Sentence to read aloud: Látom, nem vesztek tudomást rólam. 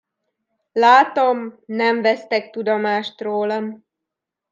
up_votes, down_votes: 2, 0